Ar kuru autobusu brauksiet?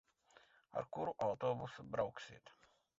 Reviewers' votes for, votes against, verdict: 1, 3, rejected